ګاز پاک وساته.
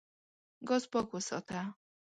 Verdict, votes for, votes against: accepted, 2, 0